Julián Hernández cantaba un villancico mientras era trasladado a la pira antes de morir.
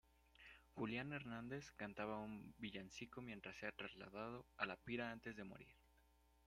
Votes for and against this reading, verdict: 1, 2, rejected